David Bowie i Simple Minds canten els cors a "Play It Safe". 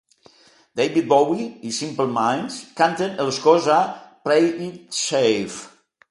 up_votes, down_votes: 3, 0